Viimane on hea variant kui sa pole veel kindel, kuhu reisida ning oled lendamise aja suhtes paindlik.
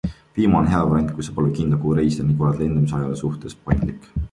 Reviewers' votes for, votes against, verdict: 2, 1, accepted